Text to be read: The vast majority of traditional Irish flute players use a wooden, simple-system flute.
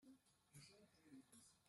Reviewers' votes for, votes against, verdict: 0, 2, rejected